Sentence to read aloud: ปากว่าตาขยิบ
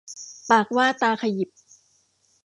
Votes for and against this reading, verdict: 2, 0, accepted